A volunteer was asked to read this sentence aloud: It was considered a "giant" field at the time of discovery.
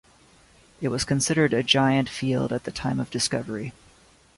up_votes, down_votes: 2, 0